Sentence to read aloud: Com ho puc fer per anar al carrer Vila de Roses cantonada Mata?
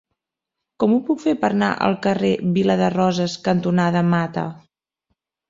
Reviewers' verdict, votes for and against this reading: rejected, 0, 2